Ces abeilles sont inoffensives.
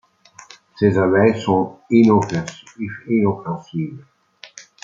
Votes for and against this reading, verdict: 0, 2, rejected